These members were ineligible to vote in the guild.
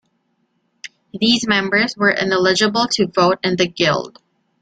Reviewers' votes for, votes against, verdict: 2, 1, accepted